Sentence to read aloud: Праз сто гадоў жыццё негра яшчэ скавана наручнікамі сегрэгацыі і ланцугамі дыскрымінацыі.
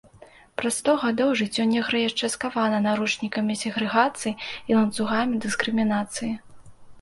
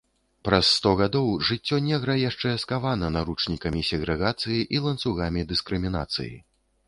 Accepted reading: first